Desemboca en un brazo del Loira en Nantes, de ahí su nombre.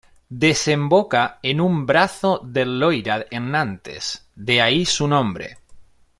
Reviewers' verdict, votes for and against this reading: accepted, 2, 0